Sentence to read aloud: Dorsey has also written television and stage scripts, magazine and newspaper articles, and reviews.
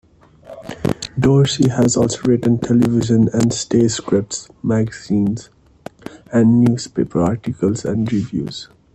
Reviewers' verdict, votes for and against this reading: rejected, 1, 2